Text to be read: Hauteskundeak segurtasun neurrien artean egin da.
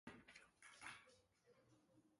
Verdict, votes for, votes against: rejected, 0, 4